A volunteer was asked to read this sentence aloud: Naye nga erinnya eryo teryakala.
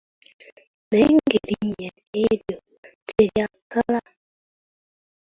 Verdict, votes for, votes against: rejected, 1, 2